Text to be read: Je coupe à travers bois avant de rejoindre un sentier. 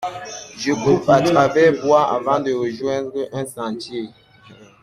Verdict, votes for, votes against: accepted, 2, 0